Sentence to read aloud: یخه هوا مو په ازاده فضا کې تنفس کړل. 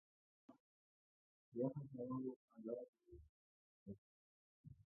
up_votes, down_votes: 1, 2